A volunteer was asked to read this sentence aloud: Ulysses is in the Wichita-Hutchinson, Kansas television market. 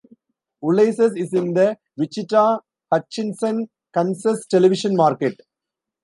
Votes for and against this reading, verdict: 0, 2, rejected